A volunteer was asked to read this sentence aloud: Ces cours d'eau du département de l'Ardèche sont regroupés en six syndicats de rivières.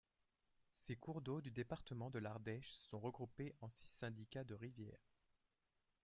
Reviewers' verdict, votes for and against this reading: accepted, 2, 0